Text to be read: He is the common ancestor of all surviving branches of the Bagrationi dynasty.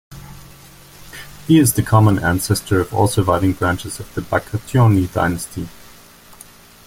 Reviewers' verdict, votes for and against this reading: accepted, 2, 0